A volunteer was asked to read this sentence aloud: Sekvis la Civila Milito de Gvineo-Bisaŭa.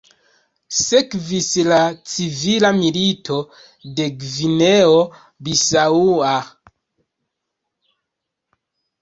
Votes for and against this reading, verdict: 0, 2, rejected